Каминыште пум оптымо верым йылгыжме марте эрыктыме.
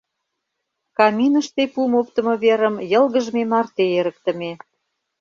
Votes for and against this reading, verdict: 2, 0, accepted